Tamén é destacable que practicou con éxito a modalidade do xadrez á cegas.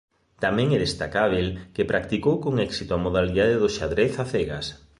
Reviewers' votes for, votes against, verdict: 3, 0, accepted